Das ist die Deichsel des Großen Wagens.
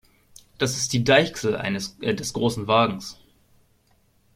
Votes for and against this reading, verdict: 0, 2, rejected